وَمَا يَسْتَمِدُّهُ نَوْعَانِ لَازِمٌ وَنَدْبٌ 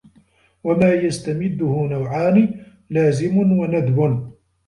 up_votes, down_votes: 0, 2